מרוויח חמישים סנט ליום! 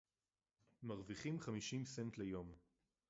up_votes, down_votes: 0, 4